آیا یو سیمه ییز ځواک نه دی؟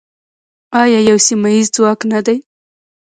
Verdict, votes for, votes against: accepted, 2, 0